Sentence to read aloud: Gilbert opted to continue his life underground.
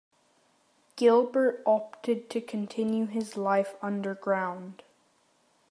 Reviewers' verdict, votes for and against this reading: accepted, 2, 0